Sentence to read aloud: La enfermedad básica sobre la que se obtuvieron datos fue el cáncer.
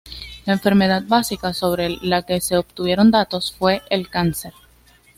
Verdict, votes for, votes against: rejected, 0, 2